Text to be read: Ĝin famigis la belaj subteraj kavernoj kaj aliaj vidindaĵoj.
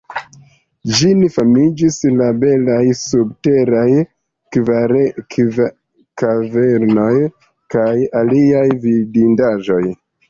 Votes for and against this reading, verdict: 2, 0, accepted